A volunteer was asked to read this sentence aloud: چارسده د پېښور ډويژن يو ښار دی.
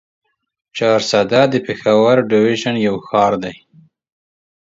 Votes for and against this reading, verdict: 2, 0, accepted